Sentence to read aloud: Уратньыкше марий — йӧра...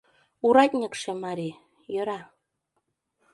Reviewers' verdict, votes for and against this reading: accepted, 2, 0